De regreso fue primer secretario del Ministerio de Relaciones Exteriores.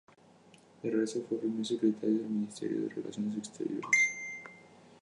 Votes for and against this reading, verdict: 0, 4, rejected